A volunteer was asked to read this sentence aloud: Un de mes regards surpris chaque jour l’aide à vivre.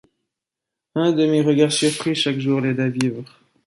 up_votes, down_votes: 2, 1